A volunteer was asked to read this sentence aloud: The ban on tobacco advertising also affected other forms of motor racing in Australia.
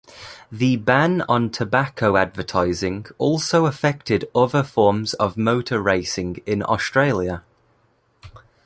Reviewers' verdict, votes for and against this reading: accepted, 2, 0